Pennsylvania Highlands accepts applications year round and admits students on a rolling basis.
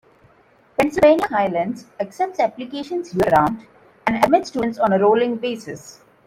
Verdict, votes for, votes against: rejected, 0, 2